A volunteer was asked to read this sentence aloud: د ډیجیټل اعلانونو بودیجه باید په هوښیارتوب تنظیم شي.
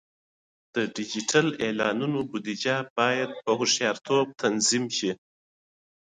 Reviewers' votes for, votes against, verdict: 2, 0, accepted